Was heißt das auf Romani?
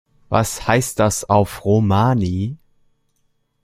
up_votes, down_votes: 0, 2